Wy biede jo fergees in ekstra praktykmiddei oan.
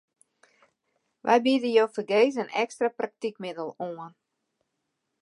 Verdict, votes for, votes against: rejected, 1, 2